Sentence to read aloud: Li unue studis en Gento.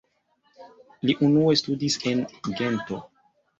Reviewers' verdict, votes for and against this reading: rejected, 1, 2